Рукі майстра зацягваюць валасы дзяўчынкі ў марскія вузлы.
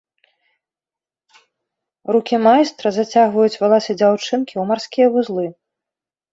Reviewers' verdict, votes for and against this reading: accepted, 2, 0